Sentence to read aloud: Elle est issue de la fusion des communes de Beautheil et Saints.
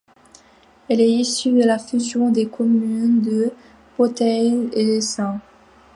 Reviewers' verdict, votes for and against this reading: accepted, 2, 1